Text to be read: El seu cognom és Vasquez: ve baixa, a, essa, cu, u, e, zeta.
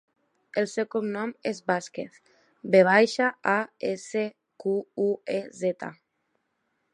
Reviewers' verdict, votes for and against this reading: rejected, 0, 2